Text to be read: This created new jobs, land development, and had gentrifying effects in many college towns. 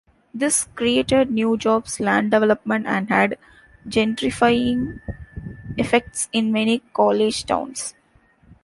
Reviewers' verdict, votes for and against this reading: rejected, 1, 2